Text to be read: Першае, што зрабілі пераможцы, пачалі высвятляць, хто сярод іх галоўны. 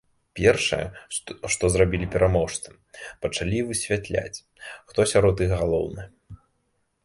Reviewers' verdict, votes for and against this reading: rejected, 0, 2